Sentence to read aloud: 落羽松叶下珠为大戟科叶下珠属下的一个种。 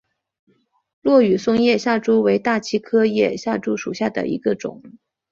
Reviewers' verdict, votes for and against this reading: accepted, 2, 0